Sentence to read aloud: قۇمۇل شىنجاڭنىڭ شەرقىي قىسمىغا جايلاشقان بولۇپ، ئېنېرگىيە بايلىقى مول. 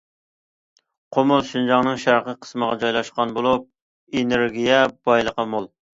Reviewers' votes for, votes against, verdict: 2, 0, accepted